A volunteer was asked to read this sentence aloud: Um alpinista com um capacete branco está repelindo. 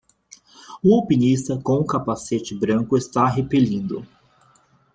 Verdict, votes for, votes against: accepted, 2, 1